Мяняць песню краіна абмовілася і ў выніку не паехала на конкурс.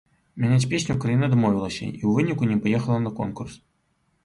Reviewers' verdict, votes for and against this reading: accepted, 2, 0